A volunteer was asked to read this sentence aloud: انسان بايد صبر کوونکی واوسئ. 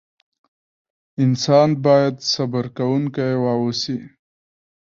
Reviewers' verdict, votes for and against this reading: rejected, 0, 2